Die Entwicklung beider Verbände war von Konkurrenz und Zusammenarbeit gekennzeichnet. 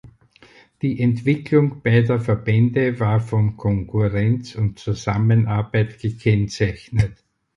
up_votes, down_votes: 4, 0